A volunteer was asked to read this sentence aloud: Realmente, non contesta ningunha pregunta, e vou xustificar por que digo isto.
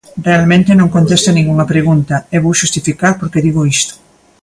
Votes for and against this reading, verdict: 2, 0, accepted